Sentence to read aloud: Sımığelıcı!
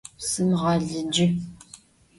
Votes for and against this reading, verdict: 0, 2, rejected